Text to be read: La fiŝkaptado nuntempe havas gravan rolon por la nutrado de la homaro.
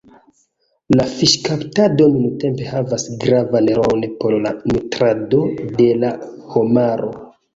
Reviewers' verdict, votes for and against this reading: accepted, 2, 1